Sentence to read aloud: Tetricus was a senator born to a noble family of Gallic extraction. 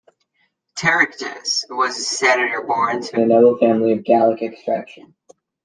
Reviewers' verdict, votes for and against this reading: accepted, 2, 1